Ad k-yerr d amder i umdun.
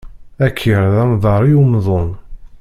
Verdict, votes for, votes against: rejected, 0, 2